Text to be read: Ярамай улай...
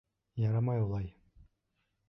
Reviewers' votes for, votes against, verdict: 2, 0, accepted